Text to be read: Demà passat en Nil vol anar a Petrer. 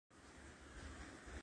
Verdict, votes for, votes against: rejected, 0, 6